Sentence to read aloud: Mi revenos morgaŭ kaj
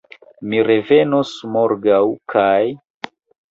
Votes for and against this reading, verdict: 2, 0, accepted